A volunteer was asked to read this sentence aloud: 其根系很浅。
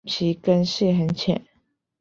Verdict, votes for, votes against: accepted, 3, 0